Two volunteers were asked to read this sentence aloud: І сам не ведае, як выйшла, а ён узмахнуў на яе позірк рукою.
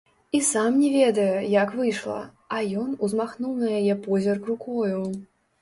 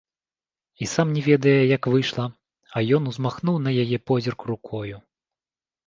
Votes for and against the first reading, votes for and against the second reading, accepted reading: 0, 2, 2, 0, second